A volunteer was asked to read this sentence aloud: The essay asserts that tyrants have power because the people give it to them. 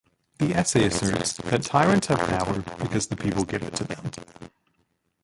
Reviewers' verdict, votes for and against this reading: rejected, 0, 2